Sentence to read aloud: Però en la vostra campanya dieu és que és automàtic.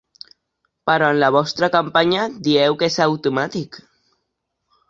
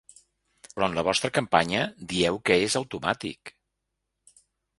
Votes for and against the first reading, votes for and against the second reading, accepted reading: 2, 1, 1, 3, first